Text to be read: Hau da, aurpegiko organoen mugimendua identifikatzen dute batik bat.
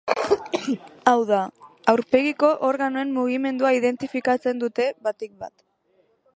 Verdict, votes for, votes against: accepted, 2, 1